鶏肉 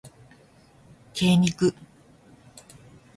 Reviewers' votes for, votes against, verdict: 0, 2, rejected